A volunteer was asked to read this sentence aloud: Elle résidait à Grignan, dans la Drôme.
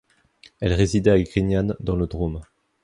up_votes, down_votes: 0, 2